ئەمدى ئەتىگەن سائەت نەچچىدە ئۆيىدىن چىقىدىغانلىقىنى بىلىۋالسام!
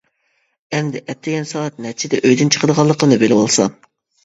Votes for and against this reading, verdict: 2, 1, accepted